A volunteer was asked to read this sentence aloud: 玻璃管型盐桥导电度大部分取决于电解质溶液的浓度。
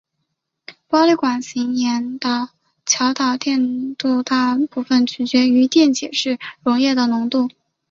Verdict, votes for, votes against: accepted, 2, 0